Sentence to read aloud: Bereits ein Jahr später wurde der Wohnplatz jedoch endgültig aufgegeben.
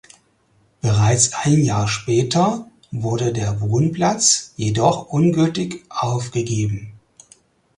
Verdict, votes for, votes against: rejected, 0, 4